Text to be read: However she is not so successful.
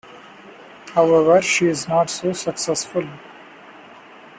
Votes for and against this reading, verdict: 2, 0, accepted